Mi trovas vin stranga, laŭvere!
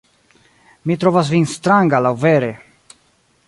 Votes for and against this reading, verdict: 1, 2, rejected